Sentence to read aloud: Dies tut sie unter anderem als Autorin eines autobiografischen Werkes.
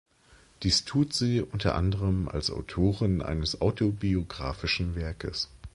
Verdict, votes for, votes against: accepted, 2, 0